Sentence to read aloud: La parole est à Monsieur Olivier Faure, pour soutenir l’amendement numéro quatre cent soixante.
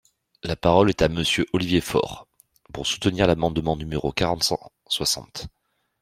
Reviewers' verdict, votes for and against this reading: rejected, 0, 2